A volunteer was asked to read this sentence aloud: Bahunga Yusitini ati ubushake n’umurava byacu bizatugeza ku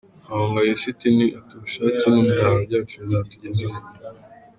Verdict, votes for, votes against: rejected, 1, 2